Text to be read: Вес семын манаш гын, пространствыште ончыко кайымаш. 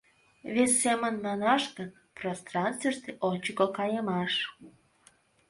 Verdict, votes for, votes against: accepted, 2, 0